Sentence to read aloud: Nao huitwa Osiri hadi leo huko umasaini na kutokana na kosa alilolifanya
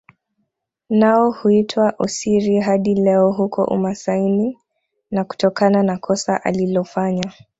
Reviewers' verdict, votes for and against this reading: accepted, 2, 0